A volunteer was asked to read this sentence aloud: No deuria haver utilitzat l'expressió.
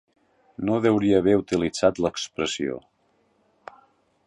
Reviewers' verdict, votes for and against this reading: accepted, 3, 0